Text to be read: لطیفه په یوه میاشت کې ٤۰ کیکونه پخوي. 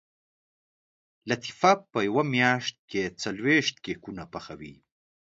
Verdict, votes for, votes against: rejected, 0, 2